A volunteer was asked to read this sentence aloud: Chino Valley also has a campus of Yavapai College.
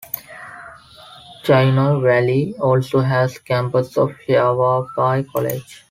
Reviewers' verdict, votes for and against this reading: accepted, 2, 0